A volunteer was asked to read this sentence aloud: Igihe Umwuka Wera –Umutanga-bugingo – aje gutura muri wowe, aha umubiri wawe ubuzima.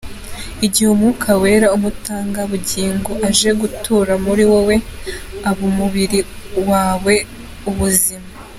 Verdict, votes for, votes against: accepted, 2, 1